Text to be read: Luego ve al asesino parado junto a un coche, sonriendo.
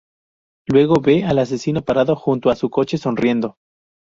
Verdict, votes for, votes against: rejected, 2, 2